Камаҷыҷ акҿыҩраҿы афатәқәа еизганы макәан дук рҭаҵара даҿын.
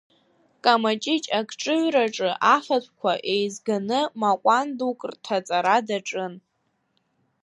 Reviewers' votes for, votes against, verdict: 0, 2, rejected